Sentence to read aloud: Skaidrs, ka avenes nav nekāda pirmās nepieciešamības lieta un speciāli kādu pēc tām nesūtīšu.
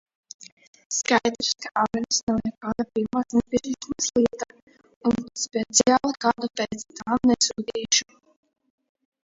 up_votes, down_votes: 0, 2